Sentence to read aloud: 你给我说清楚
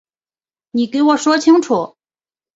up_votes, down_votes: 4, 0